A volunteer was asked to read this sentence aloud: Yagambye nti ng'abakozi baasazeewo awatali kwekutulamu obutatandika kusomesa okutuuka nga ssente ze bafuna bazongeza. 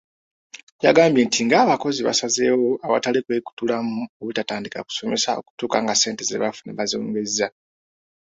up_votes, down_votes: 2, 0